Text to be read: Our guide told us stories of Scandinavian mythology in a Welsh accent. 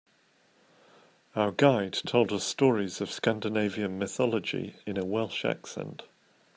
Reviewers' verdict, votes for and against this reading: accepted, 2, 0